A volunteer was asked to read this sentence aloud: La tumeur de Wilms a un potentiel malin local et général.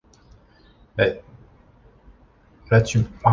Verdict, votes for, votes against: rejected, 1, 2